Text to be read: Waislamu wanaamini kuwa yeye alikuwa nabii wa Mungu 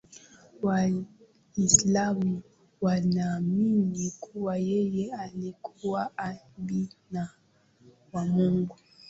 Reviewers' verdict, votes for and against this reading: rejected, 0, 5